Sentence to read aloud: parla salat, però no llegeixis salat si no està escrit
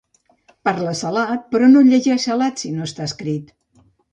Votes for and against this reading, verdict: 1, 2, rejected